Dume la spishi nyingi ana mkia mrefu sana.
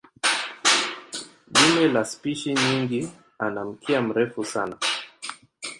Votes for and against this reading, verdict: 0, 2, rejected